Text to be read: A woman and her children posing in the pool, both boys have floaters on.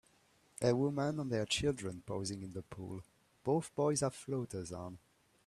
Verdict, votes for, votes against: accepted, 2, 0